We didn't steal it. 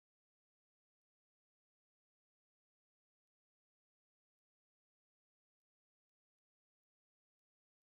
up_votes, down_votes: 0, 2